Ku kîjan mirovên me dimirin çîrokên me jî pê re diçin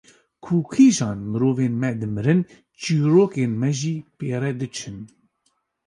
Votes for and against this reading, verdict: 2, 0, accepted